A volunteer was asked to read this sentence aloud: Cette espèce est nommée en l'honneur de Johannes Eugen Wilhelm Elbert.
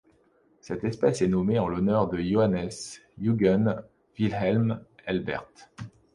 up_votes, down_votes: 2, 0